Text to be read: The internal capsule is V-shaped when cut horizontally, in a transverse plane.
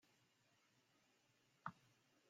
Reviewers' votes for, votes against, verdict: 0, 2, rejected